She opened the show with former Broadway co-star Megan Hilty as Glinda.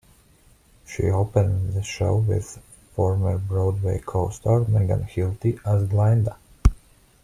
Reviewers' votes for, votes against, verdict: 1, 2, rejected